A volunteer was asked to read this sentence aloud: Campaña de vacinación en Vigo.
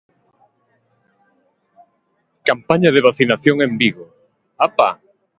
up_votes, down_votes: 1, 2